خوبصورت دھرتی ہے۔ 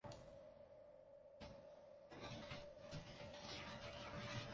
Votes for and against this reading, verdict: 0, 2, rejected